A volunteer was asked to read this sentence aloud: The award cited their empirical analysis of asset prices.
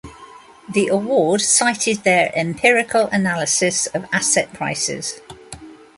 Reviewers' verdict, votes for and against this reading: accepted, 2, 0